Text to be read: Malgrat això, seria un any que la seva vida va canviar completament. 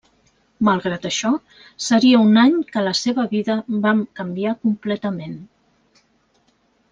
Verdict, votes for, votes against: rejected, 1, 2